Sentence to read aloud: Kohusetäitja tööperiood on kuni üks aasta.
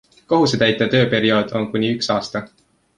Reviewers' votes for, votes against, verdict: 2, 1, accepted